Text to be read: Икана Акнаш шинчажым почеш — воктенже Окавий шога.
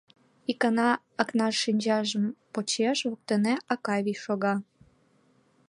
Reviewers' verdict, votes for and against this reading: rejected, 1, 4